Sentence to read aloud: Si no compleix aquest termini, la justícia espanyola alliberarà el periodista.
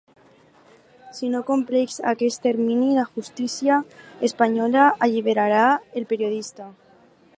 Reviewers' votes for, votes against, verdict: 2, 0, accepted